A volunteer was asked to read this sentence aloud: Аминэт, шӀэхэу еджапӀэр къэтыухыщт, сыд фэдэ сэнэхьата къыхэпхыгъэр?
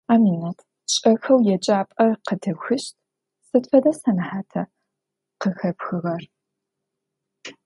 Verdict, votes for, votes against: accepted, 2, 0